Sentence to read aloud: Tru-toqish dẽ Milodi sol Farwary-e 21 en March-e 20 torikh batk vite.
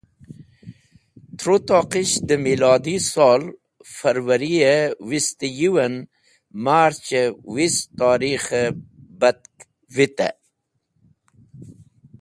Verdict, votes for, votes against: rejected, 0, 2